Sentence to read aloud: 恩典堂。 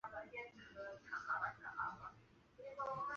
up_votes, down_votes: 0, 2